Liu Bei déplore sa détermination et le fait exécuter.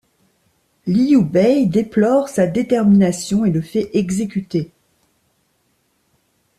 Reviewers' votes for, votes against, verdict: 2, 0, accepted